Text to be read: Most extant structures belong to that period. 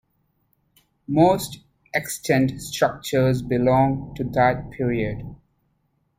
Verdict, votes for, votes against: accepted, 2, 0